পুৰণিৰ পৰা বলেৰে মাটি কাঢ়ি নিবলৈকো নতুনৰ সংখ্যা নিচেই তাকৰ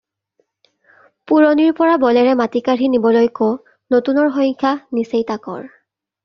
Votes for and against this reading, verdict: 2, 0, accepted